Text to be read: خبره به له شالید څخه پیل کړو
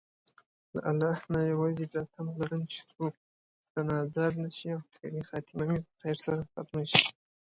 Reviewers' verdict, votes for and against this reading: rejected, 1, 2